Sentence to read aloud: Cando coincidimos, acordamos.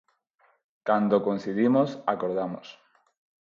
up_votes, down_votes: 6, 0